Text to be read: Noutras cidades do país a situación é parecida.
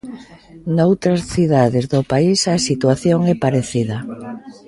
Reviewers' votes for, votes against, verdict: 0, 2, rejected